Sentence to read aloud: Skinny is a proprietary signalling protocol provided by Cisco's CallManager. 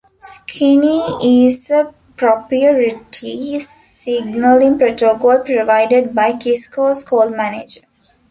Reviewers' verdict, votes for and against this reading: rejected, 1, 2